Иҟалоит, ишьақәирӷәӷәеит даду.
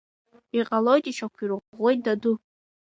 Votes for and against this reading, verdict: 1, 2, rejected